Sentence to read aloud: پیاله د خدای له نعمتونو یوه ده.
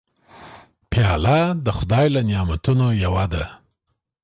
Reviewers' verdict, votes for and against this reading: accepted, 2, 0